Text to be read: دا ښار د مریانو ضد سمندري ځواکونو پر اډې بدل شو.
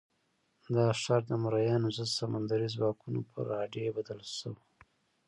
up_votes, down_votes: 0, 2